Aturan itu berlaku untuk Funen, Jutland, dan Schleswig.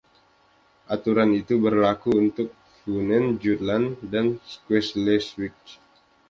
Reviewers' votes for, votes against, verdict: 2, 0, accepted